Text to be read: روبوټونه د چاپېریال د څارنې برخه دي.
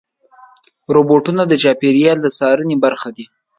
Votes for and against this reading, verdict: 2, 0, accepted